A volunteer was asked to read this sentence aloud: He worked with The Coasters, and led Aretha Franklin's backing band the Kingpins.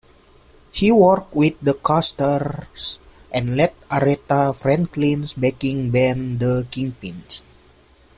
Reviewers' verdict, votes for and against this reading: accepted, 2, 1